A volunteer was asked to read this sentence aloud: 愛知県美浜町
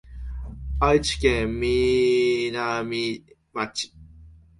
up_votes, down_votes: 1, 2